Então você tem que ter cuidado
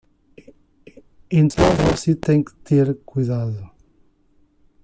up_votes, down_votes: 1, 2